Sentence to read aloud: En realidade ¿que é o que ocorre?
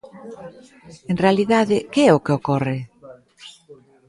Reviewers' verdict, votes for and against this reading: rejected, 0, 2